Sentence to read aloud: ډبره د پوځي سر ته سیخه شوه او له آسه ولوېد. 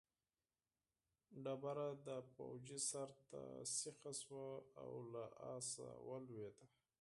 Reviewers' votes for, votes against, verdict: 4, 2, accepted